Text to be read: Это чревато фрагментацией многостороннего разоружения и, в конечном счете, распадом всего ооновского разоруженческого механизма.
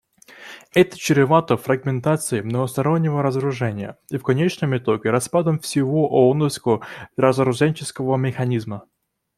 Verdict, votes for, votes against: rejected, 0, 2